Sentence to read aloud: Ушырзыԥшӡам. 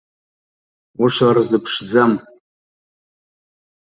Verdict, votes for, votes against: accepted, 2, 0